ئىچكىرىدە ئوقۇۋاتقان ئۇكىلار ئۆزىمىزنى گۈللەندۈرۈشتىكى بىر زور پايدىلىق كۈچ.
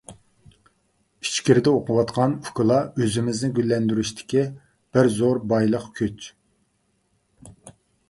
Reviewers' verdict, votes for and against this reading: rejected, 0, 2